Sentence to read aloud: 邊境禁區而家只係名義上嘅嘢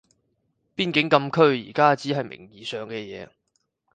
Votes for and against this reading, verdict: 4, 0, accepted